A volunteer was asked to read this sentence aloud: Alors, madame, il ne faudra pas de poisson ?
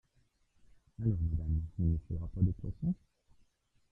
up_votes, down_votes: 0, 2